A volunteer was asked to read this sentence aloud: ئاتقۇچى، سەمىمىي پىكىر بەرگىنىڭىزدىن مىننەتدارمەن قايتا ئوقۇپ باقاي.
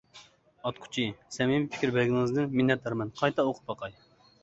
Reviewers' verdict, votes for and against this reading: accepted, 2, 0